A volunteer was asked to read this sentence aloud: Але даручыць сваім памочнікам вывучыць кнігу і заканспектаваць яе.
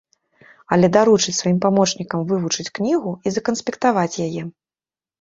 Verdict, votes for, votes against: rejected, 1, 2